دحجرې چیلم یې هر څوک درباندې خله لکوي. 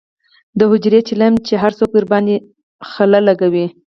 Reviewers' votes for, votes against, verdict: 4, 2, accepted